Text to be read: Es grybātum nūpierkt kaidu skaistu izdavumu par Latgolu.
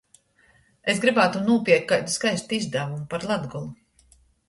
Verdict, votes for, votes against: accepted, 2, 0